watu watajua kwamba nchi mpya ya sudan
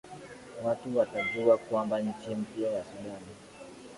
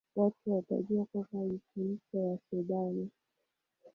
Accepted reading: first